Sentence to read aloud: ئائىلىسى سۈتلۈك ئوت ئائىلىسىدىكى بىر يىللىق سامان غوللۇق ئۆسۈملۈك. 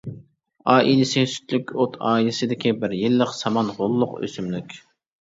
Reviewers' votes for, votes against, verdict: 2, 0, accepted